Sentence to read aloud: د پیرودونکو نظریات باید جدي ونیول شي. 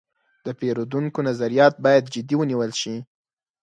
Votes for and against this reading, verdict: 6, 0, accepted